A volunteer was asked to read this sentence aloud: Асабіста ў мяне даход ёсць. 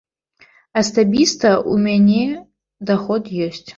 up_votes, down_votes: 1, 2